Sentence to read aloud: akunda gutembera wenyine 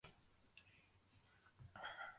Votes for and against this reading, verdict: 0, 2, rejected